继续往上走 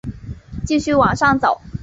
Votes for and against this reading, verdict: 5, 0, accepted